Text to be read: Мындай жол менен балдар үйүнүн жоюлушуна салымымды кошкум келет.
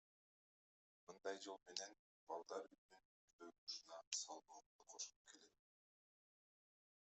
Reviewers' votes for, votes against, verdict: 0, 2, rejected